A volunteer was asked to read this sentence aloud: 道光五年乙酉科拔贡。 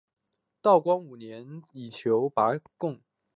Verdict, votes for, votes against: rejected, 2, 3